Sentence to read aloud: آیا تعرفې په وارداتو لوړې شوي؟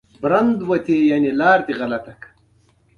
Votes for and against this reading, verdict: 0, 2, rejected